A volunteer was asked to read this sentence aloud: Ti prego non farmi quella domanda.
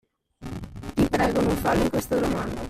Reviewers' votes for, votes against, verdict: 0, 2, rejected